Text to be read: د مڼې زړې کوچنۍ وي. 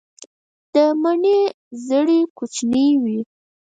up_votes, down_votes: 2, 4